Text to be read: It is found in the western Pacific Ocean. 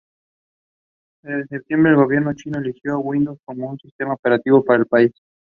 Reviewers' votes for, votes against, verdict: 0, 2, rejected